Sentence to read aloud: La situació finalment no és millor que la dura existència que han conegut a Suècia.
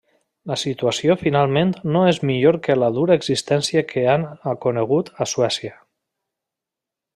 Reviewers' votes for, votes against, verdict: 2, 0, accepted